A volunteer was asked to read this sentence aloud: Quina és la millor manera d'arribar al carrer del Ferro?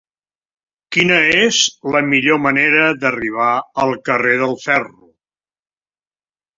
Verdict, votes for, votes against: accepted, 3, 0